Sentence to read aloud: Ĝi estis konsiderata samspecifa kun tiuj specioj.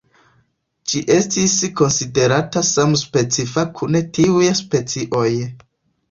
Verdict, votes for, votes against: rejected, 1, 2